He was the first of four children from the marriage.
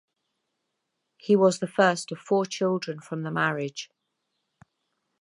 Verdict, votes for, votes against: accepted, 4, 2